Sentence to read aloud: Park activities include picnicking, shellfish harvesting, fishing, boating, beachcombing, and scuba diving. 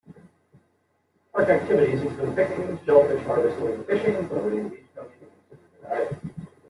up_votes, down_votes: 0, 2